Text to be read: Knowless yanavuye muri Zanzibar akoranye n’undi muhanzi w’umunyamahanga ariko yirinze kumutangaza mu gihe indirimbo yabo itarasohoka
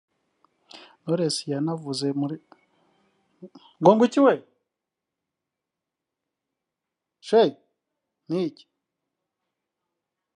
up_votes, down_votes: 0, 2